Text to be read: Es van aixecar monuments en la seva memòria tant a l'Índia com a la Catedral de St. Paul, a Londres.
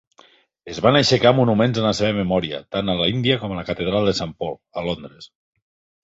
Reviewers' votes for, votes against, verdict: 2, 0, accepted